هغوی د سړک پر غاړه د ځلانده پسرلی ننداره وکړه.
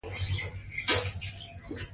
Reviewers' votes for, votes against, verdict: 2, 0, accepted